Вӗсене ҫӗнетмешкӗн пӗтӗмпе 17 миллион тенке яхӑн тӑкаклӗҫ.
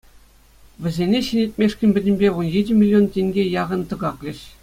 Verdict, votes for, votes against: rejected, 0, 2